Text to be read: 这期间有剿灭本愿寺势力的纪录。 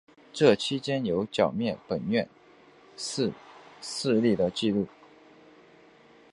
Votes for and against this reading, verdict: 8, 1, accepted